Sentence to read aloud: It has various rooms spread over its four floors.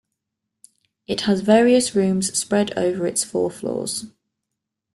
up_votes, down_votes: 2, 0